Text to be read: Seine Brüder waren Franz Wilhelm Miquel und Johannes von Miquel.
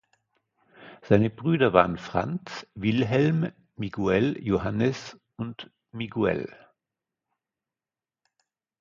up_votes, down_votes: 0, 2